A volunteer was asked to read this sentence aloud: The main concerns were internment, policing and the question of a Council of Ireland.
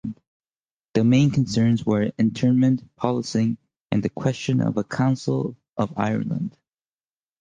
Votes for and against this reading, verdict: 2, 0, accepted